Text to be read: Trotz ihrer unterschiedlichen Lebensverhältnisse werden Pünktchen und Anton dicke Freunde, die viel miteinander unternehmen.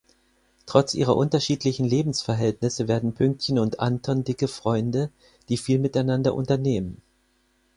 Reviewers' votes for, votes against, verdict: 4, 0, accepted